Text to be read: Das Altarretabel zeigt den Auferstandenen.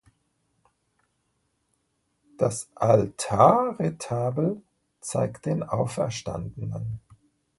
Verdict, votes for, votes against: accepted, 2, 0